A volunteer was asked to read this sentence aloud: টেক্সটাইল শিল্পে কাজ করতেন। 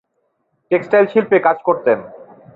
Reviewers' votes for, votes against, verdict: 0, 2, rejected